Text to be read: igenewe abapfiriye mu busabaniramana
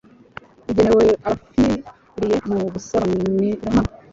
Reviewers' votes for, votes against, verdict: 0, 2, rejected